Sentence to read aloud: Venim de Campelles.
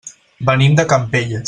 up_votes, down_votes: 0, 4